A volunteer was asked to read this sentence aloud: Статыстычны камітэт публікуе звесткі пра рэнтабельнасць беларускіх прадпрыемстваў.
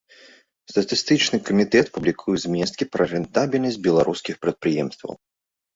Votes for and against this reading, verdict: 1, 2, rejected